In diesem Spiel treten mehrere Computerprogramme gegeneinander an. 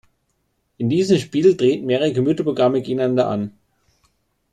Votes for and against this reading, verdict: 1, 2, rejected